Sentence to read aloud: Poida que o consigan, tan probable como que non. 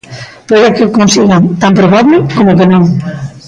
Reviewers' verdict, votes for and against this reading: rejected, 0, 2